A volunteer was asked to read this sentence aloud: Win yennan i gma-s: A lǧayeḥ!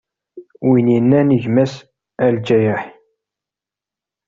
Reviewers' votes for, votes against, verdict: 2, 0, accepted